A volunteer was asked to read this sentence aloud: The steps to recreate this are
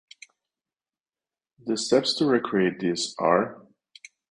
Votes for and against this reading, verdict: 2, 0, accepted